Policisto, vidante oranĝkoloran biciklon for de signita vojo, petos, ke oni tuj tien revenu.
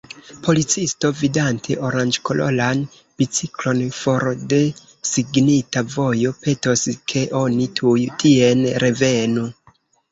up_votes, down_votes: 0, 2